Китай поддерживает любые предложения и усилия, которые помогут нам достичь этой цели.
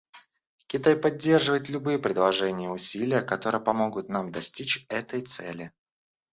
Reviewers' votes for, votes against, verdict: 0, 2, rejected